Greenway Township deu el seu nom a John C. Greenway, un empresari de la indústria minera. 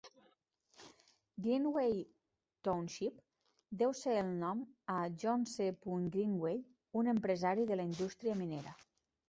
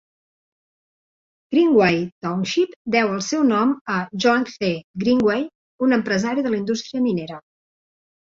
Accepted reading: second